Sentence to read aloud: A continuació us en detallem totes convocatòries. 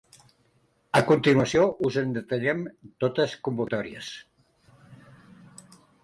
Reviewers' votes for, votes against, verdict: 2, 1, accepted